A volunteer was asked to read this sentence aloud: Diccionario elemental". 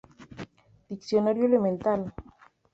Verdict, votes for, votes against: rejected, 0, 2